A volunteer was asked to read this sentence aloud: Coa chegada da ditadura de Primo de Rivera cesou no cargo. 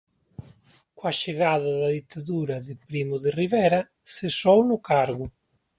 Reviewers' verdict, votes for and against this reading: rejected, 0, 2